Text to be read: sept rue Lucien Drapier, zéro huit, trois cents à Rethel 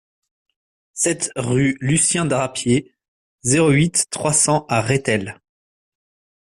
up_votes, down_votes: 3, 0